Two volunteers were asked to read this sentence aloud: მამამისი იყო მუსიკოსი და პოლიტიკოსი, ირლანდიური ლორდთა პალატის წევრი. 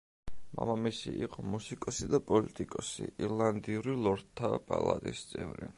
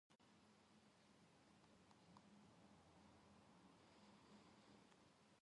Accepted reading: first